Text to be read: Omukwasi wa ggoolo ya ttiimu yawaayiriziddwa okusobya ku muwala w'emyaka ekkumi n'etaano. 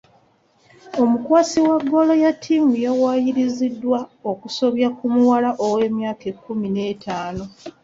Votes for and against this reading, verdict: 2, 0, accepted